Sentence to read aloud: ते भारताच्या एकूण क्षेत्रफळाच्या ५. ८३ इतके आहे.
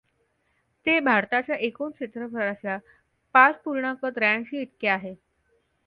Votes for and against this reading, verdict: 0, 2, rejected